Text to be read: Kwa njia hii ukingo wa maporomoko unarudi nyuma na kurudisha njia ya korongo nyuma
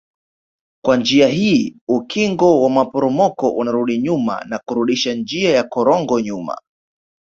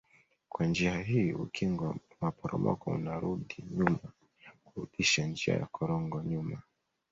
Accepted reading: first